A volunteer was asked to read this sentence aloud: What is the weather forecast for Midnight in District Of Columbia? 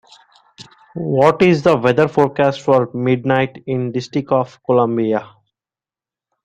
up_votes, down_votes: 2, 1